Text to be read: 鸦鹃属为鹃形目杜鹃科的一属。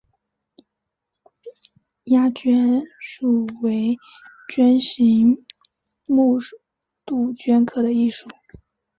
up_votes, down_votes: 0, 2